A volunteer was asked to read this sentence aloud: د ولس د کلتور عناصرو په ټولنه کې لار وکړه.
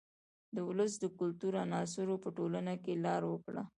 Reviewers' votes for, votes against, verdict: 2, 0, accepted